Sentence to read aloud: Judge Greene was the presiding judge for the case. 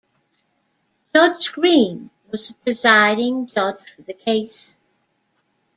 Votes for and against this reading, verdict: 1, 2, rejected